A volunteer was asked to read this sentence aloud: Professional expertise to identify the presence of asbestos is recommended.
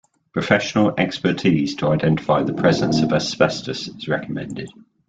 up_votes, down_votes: 2, 0